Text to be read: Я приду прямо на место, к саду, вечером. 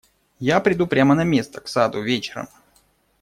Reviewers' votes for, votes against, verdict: 2, 0, accepted